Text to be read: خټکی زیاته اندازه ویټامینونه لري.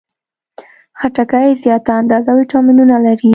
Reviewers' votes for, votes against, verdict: 2, 0, accepted